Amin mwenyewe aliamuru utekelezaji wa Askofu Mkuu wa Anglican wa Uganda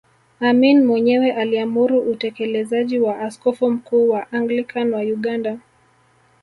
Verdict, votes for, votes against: accepted, 2, 0